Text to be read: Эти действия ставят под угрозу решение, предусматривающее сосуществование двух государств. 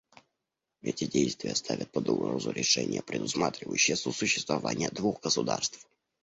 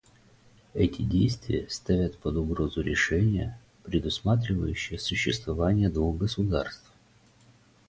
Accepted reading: first